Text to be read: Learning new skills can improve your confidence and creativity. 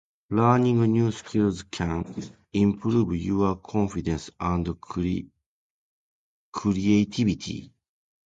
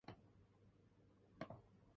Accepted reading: first